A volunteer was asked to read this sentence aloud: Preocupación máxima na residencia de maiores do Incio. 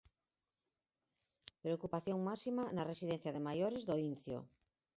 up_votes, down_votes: 4, 2